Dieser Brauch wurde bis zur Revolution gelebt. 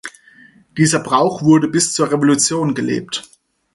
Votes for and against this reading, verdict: 4, 0, accepted